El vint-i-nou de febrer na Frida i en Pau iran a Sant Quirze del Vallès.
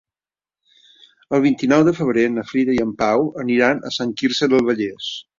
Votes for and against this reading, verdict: 1, 2, rejected